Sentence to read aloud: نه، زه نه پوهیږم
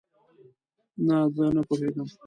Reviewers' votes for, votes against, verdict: 2, 0, accepted